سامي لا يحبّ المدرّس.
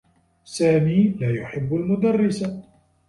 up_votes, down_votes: 2, 1